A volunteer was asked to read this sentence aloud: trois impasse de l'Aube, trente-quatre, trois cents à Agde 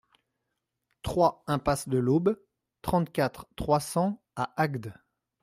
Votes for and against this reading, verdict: 2, 0, accepted